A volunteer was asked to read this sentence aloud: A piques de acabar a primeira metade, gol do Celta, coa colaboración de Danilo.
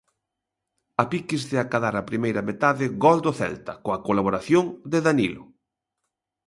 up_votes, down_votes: 1, 2